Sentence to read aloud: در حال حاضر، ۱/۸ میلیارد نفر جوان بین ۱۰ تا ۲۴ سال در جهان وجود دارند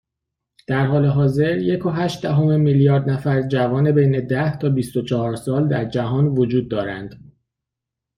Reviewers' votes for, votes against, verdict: 0, 2, rejected